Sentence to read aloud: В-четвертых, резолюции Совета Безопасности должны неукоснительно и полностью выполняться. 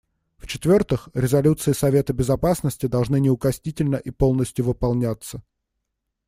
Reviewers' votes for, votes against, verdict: 2, 0, accepted